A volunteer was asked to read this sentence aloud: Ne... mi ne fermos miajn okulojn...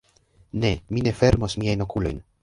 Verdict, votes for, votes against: rejected, 1, 2